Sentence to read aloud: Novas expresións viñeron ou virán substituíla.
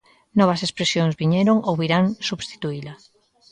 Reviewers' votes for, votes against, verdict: 2, 1, accepted